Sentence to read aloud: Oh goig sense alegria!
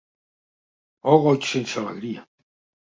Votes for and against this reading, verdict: 2, 0, accepted